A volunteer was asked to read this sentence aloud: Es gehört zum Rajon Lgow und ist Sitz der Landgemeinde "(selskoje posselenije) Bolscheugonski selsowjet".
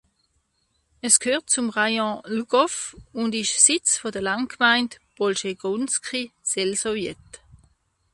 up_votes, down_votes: 0, 2